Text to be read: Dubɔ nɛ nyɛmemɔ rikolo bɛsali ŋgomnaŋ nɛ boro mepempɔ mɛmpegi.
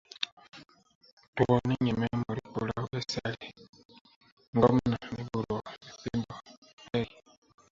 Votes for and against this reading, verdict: 0, 2, rejected